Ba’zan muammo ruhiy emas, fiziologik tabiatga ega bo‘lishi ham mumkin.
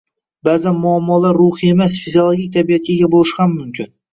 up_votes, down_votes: 2, 0